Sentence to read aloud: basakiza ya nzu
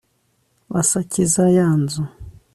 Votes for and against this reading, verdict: 2, 0, accepted